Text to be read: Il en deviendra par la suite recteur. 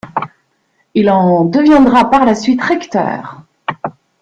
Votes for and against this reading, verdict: 2, 0, accepted